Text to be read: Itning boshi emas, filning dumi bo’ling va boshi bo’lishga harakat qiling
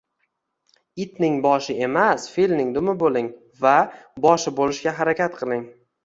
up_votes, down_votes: 2, 0